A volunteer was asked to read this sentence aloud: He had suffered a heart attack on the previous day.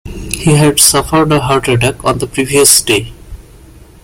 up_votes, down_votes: 2, 1